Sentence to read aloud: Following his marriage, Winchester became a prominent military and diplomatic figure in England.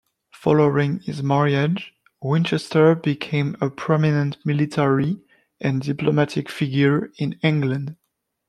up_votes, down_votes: 2, 1